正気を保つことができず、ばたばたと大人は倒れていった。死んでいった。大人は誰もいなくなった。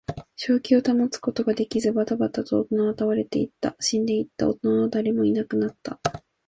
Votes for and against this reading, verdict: 2, 0, accepted